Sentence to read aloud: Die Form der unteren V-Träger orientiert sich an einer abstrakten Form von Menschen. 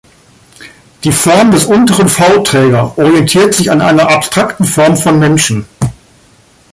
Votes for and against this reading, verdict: 0, 3, rejected